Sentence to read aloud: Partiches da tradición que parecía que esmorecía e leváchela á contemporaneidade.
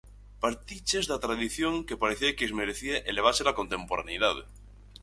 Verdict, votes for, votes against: rejected, 0, 4